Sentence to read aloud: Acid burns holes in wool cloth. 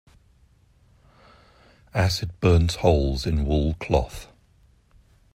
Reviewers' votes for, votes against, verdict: 2, 0, accepted